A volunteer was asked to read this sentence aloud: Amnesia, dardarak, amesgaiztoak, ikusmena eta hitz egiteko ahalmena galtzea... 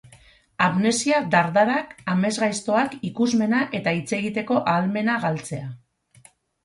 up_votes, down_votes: 2, 0